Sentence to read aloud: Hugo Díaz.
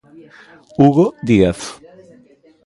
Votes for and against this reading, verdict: 1, 2, rejected